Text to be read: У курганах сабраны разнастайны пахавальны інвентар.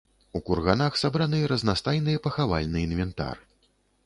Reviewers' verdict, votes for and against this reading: rejected, 1, 2